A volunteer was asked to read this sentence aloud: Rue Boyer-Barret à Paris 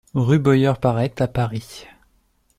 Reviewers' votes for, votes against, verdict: 1, 2, rejected